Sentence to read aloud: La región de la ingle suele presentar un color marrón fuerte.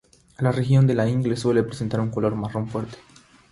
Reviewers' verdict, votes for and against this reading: accepted, 6, 0